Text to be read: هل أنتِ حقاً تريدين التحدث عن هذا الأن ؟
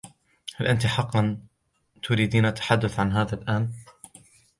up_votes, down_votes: 2, 0